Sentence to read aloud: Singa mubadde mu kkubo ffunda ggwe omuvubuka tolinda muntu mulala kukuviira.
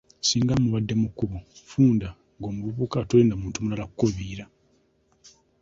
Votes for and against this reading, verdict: 1, 2, rejected